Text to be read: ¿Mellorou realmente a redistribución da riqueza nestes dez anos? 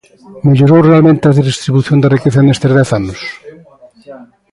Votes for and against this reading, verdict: 2, 1, accepted